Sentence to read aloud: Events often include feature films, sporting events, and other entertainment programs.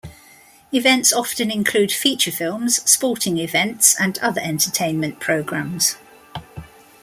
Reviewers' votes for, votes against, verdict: 3, 0, accepted